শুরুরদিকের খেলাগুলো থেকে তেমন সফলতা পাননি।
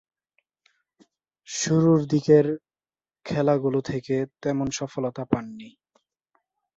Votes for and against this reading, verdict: 1, 2, rejected